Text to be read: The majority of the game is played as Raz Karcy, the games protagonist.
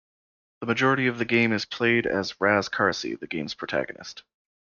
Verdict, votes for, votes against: accepted, 2, 0